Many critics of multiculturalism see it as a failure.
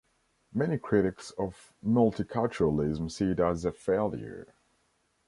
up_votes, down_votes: 2, 0